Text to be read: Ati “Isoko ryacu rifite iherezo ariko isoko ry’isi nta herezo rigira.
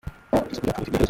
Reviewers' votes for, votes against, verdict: 0, 2, rejected